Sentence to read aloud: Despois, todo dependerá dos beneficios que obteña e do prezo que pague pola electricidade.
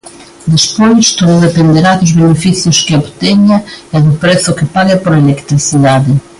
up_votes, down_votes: 2, 0